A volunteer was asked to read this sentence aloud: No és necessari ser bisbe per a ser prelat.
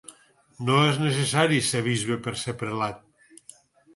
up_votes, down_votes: 2, 4